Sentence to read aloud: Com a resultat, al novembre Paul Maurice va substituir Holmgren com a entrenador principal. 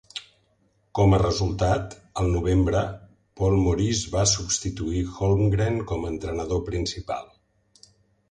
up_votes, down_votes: 2, 0